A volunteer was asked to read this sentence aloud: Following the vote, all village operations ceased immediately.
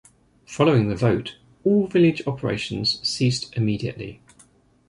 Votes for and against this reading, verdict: 2, 0, accepted